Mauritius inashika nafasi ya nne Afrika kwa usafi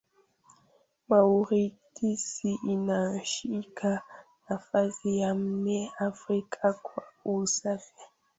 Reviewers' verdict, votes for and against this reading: rejected, 0, 2